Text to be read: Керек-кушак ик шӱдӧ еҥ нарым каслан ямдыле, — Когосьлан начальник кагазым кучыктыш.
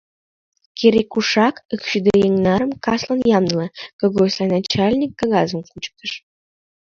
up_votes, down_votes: 1, 2